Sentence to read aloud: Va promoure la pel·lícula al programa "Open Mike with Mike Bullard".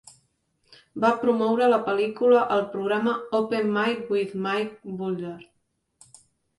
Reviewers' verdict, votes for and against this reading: accepted, 2, 0